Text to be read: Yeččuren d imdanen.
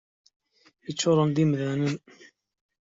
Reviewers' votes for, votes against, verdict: 2, 0, accepted